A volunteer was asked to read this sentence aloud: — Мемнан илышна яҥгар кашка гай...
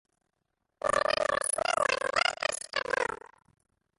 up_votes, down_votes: 0, 2